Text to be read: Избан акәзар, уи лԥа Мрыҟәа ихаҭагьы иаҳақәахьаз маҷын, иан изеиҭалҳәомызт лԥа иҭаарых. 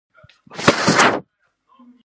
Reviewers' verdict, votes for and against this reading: rejected, 0, 2